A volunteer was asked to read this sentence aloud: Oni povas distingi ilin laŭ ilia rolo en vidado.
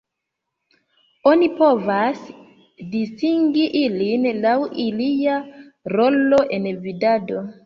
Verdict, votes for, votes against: accepted, 2, 1